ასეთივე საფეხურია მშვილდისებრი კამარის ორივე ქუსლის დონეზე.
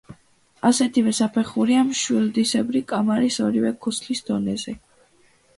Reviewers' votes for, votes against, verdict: 2, 1, accepted